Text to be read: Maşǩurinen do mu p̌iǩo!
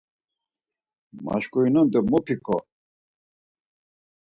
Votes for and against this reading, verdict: 4, 0, accepted